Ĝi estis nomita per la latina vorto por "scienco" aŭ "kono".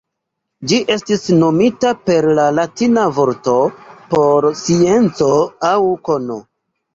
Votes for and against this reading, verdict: 0, 2, rejected